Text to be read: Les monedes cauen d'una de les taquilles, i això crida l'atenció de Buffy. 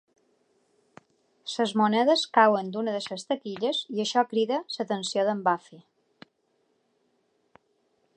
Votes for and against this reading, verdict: 0, 2, rejected